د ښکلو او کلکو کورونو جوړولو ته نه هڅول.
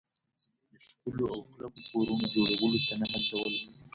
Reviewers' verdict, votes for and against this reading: rejected, 0, 2